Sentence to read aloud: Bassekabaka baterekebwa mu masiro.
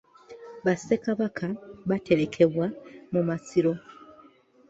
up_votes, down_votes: 2, 0